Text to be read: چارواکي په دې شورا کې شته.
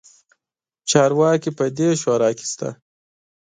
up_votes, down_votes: 2, 0